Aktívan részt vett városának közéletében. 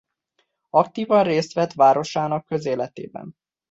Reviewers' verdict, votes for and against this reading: accepted, 2, 0